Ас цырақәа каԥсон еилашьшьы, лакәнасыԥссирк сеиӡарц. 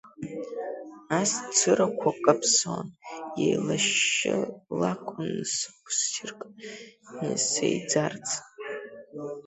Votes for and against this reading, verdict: 0, 2, rejected